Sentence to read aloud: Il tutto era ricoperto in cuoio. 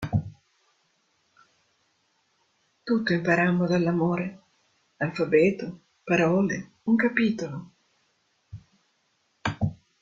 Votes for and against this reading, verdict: 0, 2, rejected